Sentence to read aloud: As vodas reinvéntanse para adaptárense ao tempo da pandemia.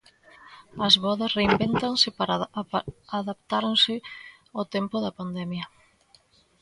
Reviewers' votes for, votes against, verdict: 0, 2, rejected